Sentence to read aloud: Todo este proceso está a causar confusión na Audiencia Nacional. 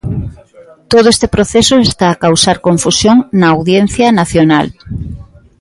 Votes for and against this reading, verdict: 2, 0, accepted